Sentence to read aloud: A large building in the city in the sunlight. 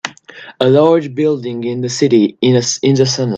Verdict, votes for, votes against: rejected, 0, 2